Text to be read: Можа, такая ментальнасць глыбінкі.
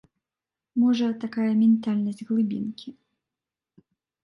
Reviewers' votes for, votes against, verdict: 0, 2, rejected